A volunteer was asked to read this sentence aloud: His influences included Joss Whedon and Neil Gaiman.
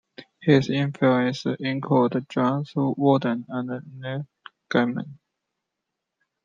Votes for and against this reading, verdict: 2, 1, accepted